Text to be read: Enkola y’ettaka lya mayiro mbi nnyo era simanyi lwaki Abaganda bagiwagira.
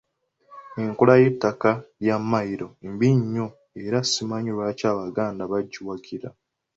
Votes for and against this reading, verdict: 2, 0, accepted